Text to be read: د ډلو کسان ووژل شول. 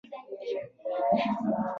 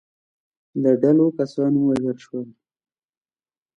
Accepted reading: second